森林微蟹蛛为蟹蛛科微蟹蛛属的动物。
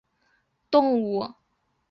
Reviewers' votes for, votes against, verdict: 1, 2, rejected